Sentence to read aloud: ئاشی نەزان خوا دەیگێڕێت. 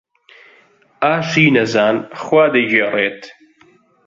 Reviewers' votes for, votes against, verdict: 2, 0, accepted